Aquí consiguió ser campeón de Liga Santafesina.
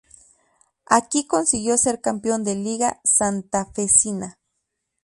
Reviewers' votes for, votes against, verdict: 2, 2, rejected